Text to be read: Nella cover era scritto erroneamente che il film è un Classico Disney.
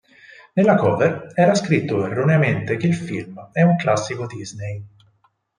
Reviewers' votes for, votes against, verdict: 6, 0, accepted